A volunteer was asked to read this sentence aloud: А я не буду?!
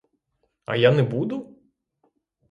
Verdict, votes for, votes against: accepted, 6, 0